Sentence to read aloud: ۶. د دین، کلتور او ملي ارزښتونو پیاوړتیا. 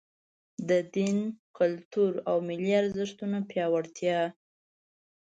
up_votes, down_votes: 0, 2